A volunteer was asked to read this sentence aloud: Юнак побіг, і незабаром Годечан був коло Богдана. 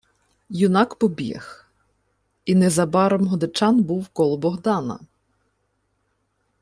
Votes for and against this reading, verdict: 2, 0, accepted